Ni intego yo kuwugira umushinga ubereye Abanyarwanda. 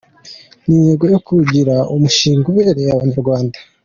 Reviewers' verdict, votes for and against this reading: accepted, 2, 0